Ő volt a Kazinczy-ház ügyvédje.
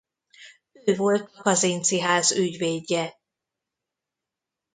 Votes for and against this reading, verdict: 0, 2, rejected